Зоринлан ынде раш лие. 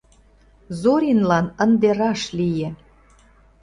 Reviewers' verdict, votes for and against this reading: accepted, 2, 0